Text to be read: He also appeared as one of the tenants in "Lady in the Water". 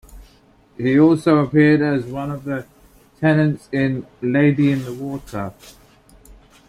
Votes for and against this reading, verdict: 2, 0, accepted